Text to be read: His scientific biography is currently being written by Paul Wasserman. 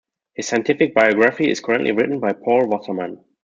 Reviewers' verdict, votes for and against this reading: rejected, 0, 2